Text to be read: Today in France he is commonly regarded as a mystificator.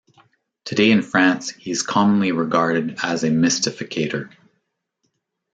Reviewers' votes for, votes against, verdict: 2, 0, accepted